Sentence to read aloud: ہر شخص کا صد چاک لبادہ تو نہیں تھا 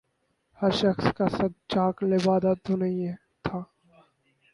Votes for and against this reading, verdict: 0, 2, rejected